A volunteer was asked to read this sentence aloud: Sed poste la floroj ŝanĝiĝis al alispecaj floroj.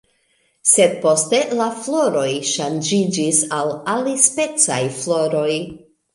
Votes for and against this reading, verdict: 2, 1, accepted